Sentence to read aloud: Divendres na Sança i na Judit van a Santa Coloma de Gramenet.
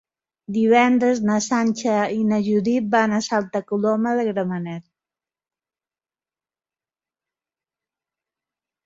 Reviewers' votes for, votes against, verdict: 2, 3, rejected